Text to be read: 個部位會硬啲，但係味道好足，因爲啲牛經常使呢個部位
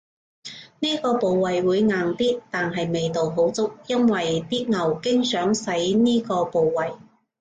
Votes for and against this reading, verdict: 0, 2, rejected